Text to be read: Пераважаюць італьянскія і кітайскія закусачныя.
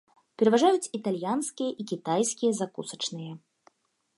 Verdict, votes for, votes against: accepted, 3, 0